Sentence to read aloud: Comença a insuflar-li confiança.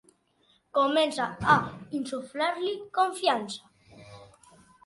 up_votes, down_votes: 2, 0